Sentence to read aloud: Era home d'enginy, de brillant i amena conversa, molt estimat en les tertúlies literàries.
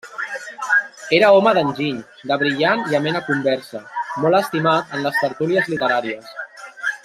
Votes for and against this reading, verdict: 0, 2, rejected